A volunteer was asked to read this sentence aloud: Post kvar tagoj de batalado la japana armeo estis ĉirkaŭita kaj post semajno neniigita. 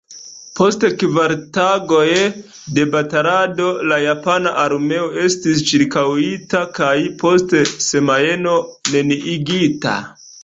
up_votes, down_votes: 2, 0